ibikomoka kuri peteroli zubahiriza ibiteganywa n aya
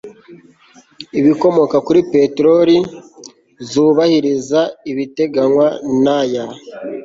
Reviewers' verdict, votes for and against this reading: accepted, 2, 0